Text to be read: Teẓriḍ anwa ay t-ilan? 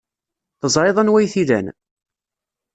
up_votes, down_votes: 2, 0